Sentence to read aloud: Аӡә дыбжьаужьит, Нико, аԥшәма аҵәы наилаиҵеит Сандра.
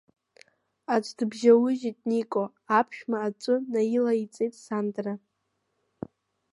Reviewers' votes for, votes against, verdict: 1, 2, rejected